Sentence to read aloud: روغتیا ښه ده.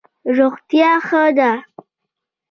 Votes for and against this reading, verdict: 2, 0, accepted